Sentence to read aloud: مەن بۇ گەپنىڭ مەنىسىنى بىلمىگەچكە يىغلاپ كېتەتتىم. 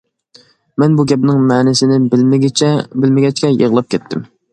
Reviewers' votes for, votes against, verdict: 0, 2, rejected